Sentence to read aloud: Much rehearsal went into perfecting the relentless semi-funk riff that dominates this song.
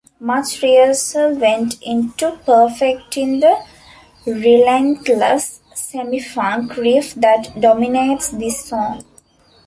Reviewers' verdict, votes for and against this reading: accepted, 2, 0